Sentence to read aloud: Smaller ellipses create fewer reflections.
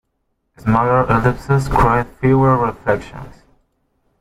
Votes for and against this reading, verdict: 1, 2, rejected